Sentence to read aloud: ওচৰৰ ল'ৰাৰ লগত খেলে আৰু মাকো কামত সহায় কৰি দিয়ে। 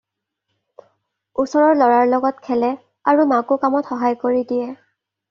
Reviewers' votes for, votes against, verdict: 2, 0, accepted